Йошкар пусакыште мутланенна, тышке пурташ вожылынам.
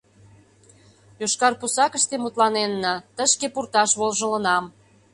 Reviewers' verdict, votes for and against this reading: accepted, 2, 0